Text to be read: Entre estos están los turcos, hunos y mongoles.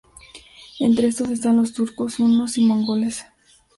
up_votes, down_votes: 0, 2